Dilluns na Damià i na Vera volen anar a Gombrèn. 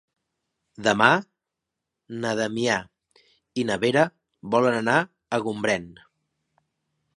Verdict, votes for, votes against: rejected, 0, 2